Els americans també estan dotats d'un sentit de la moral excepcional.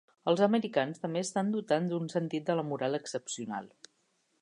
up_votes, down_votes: 0, 2